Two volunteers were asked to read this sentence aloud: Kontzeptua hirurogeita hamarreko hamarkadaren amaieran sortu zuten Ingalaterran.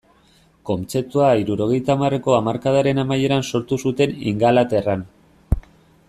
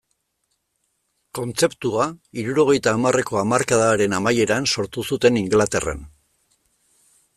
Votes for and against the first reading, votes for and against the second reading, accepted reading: 2, 0, 0, 2, first